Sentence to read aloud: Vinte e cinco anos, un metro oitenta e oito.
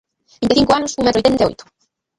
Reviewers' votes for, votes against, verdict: 0, 2, rejected